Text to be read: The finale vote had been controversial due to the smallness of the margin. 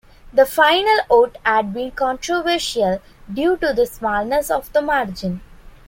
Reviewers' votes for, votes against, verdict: 0, 2, rejected